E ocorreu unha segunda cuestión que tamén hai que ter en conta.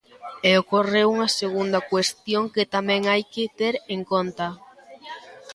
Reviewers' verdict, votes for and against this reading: accepted, 2, 0